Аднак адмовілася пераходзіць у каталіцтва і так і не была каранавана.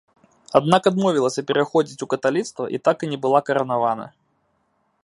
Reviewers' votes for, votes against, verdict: 2, 0, accepted